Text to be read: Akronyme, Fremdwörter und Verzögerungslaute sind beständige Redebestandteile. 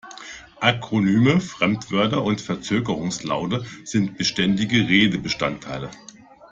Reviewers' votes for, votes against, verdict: 2, 0, accepted